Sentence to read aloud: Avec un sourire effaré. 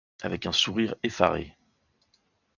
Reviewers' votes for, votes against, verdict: 2, 0, accepted